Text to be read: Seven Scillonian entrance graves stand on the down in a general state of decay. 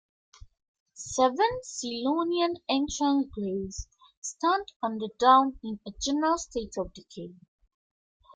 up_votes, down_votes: 2, 1